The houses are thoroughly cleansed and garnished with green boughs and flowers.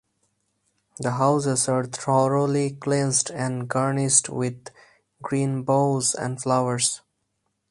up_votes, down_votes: 2, 2